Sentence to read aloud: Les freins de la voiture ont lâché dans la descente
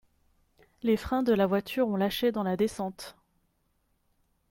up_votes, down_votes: 2, 0